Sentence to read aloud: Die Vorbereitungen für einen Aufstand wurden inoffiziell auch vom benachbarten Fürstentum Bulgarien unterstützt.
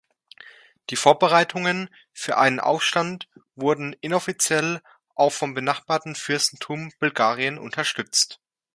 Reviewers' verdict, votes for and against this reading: accepted, 2, 1